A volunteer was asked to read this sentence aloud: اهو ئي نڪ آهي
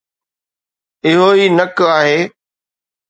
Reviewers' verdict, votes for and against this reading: accepted, 2, 1